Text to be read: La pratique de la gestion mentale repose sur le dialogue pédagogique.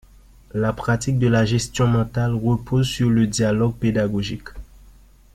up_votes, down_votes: 2, 0